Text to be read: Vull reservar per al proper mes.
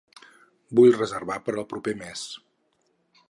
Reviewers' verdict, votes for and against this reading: accepted, 6, 0